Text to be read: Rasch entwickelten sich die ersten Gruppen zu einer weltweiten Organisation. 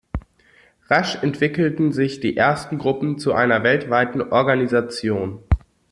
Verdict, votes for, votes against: accepted, 2, 0